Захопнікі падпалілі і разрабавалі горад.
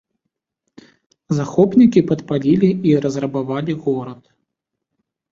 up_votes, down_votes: 2, 0